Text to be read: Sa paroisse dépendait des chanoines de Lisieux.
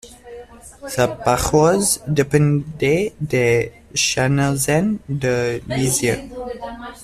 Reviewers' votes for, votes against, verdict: 0, 2, rejected